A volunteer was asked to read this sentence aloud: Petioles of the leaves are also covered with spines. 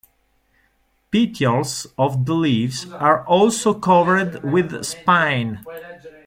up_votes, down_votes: 2, 1